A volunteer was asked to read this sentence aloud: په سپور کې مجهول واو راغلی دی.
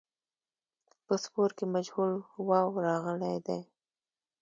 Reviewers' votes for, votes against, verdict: 2, 1, accepted